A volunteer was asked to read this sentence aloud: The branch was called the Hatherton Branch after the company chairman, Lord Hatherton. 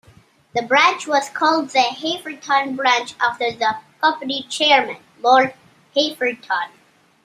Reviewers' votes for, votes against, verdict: 2, 1, accepted